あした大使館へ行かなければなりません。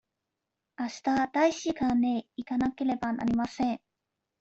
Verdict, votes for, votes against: rejected, 1, 2